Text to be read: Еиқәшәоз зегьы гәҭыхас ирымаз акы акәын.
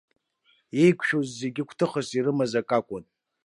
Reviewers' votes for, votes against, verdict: 2, 0, accepted